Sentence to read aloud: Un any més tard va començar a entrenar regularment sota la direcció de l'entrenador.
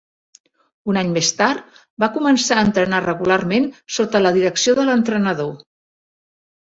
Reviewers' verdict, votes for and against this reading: accepted, 3, 0